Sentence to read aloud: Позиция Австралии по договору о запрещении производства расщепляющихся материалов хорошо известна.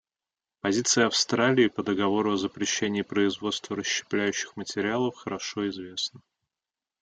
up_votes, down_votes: 1, 2